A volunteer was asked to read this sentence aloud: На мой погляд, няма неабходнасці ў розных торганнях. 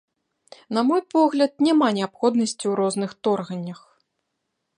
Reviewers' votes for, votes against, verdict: 2, 0, accepted